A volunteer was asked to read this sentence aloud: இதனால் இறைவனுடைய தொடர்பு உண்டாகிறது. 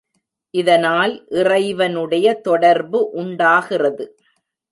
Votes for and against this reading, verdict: 2, 0, accepted